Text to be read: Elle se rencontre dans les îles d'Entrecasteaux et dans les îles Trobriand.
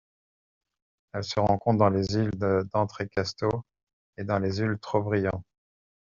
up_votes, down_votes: 1, 2